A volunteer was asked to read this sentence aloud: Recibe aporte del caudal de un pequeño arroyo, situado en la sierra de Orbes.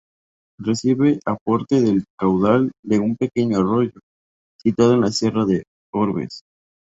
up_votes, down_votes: 4, 0